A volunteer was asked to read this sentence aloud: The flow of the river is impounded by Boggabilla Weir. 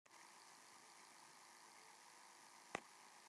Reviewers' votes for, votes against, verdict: 0, 2, rejected